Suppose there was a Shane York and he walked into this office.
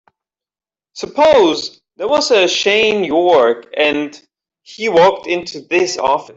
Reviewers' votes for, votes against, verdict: 0, 2, rejected